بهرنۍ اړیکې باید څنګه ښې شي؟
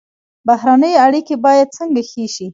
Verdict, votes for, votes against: accepted, 2, 1